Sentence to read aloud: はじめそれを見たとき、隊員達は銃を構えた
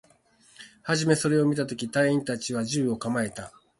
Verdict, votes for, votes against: accepted, 6, 0